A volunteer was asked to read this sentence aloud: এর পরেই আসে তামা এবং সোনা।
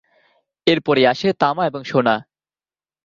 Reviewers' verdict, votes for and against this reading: accepted, 2, 0